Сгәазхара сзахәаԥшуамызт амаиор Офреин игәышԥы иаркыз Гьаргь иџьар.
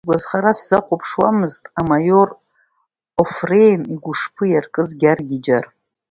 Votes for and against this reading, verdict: 2, 0, accepted